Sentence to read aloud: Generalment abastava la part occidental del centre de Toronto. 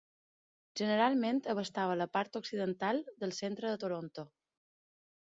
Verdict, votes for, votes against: accepted, 3, 0